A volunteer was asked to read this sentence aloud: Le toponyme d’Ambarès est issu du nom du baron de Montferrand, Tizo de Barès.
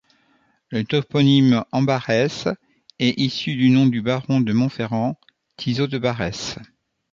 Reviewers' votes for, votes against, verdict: 2, 3, rejected